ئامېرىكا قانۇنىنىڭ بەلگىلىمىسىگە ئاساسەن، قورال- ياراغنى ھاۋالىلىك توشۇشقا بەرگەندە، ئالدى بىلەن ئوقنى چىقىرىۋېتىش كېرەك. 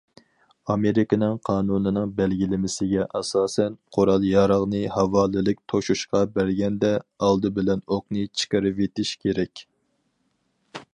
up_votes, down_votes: 0, 4